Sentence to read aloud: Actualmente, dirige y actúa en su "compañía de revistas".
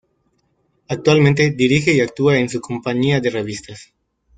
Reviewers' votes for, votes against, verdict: 2, 0, accepted